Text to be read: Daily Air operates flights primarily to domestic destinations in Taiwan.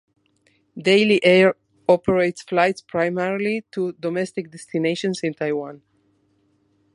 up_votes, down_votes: 2, 0